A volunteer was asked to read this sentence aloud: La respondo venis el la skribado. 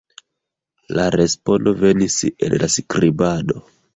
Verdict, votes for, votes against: rejected, 0, 2